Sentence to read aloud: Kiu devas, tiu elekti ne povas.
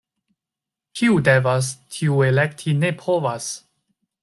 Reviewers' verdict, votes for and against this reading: accepted, 2, 1